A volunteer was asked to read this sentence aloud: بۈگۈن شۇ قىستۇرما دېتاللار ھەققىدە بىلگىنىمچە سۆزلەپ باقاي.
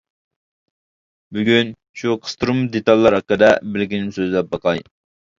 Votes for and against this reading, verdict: 1, 2, rejected